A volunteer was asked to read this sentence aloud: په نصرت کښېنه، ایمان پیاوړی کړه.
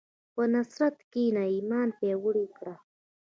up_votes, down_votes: 0, 2